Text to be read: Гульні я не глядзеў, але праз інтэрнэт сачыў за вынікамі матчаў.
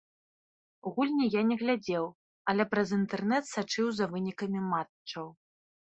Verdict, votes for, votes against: accepted, 3, 0